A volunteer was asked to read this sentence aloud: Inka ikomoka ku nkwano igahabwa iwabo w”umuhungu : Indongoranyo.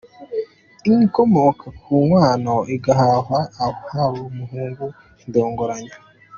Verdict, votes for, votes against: rejected, 1, 2